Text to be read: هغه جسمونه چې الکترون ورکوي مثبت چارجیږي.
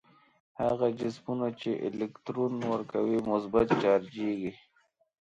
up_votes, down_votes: 3, 2